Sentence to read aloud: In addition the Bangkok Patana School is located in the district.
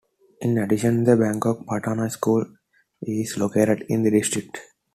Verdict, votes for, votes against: accepted, 2, 0